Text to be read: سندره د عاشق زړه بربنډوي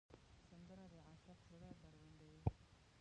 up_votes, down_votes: 1, 2